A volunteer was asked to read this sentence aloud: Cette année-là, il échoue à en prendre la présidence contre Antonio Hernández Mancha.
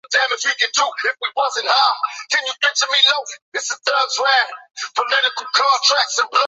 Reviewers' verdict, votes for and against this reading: rejected, 0, 2